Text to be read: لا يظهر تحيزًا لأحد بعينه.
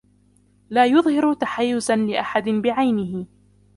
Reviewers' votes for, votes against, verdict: 0, 2, rejected